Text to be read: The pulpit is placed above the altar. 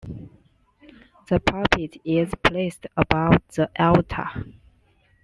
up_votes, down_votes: 2, 0